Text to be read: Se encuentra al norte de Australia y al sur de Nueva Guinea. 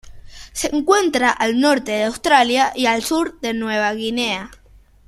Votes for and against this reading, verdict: 2, 1, accepted